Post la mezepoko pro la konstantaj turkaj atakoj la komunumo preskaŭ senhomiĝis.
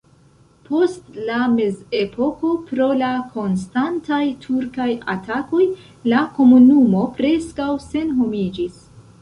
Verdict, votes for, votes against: rejected, 1, 2